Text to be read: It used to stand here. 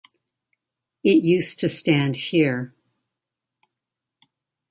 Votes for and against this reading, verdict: 2, 0, accepted